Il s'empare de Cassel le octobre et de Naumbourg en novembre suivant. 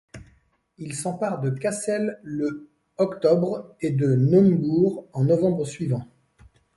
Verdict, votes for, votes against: accepted, 2, 0